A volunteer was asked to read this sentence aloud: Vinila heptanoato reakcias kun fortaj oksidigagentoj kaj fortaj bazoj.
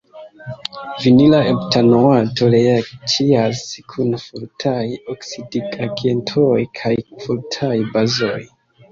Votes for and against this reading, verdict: 1, 2, rejected